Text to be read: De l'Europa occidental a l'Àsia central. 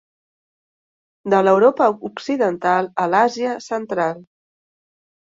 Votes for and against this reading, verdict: 3, 0, accepted